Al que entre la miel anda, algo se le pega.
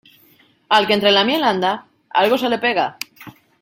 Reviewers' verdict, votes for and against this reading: accepted, 2, 1